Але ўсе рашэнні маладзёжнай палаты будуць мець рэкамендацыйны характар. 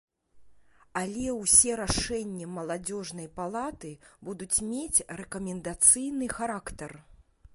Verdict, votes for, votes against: accepted, 2, 0